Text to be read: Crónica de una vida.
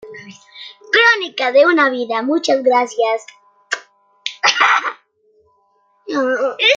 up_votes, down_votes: 1, 2